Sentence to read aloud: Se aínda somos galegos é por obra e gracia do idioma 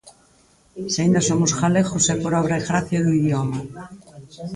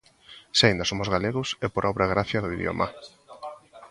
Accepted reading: first